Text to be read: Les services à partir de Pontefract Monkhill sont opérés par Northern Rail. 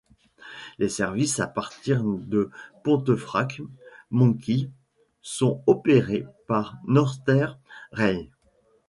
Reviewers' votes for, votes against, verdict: 2, 0, accepted